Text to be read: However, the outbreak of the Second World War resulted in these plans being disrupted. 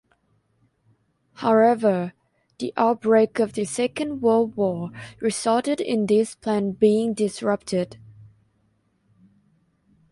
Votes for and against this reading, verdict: 0, 2, rejected